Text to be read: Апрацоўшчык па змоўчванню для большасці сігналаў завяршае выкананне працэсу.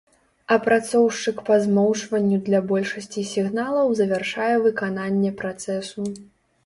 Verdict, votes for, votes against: accepted, 2, 0